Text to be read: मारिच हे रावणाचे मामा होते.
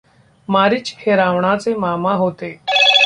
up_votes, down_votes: 0, 2